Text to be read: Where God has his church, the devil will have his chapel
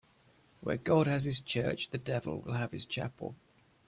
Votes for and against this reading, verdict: 2, 0, accepted